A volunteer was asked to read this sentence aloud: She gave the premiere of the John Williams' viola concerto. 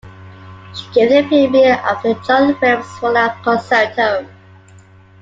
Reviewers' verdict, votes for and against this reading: rejected, 0, 2